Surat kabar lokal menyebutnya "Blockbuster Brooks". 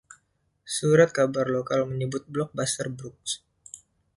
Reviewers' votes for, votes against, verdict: 1, 2, rejected